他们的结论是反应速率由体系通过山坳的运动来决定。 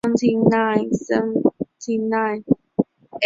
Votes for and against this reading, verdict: 0, 2, rejected